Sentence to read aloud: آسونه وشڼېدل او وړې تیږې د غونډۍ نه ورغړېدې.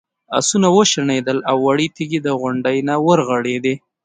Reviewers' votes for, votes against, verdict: 2, 0, accepted